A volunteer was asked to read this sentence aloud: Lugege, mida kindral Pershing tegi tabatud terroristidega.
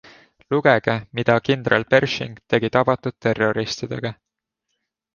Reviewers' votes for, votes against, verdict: 2, 0, accepted